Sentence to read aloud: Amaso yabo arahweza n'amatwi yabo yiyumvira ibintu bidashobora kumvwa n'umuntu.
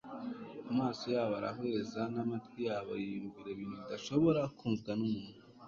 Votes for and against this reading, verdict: 2, 0, accepted